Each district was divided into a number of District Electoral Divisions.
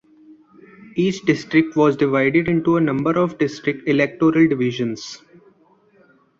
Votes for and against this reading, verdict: 2, 0, accepted